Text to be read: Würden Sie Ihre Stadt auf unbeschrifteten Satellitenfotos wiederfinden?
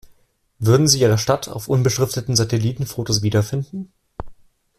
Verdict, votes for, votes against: accepted, 2, 0